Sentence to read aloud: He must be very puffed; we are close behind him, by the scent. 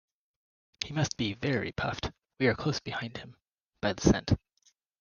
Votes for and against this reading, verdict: 2, 0, accepted